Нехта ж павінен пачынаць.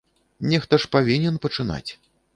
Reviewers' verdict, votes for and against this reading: accepted, 2, 0